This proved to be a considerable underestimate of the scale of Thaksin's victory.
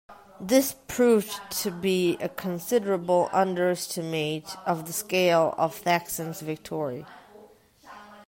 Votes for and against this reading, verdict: 0, 2, rejected